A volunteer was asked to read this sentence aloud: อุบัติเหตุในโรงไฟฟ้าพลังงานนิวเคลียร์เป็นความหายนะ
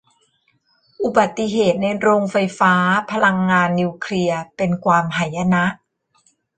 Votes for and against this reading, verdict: 1, 2, rejected